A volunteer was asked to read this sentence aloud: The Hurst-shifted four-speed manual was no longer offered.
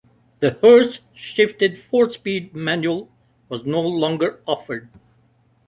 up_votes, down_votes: 2, 0